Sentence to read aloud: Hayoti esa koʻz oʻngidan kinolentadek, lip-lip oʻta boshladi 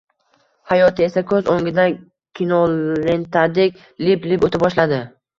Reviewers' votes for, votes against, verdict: 2, 0, accepted